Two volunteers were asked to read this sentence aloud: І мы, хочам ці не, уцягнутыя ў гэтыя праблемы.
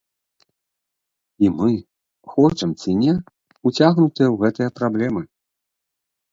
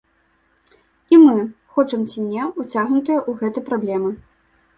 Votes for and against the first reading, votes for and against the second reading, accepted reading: 3, 0, 0, 2, first